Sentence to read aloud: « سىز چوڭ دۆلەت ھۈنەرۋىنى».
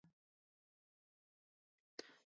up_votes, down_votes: 0, 2